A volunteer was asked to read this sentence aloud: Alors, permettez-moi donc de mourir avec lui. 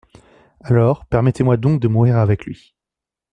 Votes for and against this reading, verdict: 2, 0, accepted